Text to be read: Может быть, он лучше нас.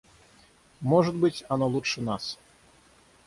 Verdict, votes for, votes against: rejected, 3, 6